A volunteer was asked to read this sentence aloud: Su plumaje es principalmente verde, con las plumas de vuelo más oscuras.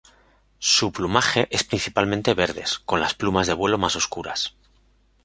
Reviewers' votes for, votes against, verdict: 0, 2, rejected